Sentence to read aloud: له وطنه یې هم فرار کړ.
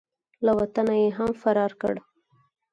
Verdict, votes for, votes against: accepted, 4, 0